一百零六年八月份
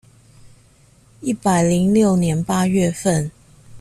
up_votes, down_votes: 2, 0